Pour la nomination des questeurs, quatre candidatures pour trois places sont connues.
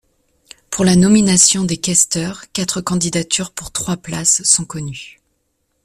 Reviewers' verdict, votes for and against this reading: accepted, 2, 0